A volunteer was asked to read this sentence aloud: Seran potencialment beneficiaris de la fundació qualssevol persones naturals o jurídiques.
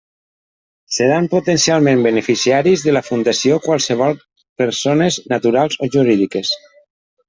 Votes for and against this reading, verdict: 2, 0, accepted